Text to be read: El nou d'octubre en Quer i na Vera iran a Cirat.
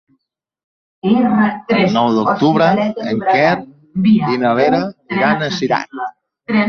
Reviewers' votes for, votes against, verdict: 0, 2, rejected